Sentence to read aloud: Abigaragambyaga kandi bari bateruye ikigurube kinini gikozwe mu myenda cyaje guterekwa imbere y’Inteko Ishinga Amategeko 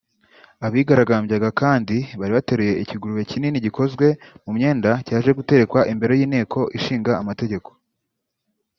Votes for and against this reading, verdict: 1, 2, rejected